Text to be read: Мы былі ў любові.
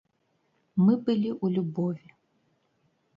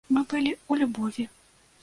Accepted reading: first